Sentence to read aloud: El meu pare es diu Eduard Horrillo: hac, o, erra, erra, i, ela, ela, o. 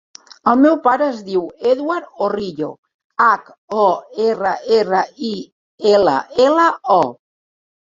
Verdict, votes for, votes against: rejected, 2, 3